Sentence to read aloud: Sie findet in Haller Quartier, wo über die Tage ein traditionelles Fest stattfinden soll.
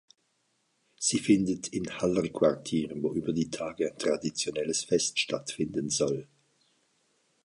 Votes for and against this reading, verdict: 2, 0, accepted